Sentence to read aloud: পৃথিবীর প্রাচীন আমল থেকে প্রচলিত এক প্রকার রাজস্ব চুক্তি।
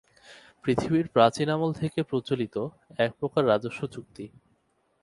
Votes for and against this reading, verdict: 4, 0, accepted